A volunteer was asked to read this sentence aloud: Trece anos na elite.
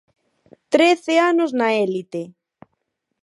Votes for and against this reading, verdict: 0, 4, rejected